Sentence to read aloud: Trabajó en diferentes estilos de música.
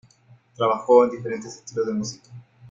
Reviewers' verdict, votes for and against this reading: rejected, 1, 2